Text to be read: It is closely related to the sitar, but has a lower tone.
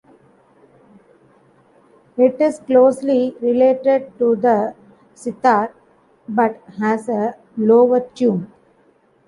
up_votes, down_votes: 1, 2